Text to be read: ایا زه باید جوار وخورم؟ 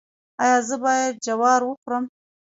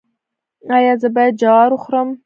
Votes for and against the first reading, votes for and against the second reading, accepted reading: 2, 1, 1, 2, first